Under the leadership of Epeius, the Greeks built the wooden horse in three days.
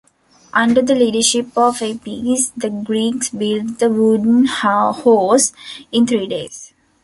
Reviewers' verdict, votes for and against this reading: rejected, 0, 2